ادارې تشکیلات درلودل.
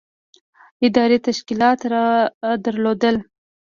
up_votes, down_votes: 1, 2